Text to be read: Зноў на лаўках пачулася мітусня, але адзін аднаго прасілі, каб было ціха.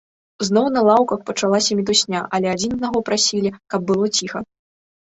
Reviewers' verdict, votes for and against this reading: rejected, 1, 2